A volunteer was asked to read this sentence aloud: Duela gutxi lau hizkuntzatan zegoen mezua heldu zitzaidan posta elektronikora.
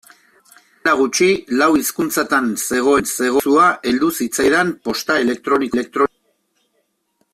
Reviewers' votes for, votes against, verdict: 0, 2, rejected